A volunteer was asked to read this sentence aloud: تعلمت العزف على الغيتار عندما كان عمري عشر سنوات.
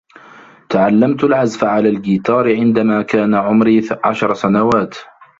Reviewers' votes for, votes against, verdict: 1, 2, rejected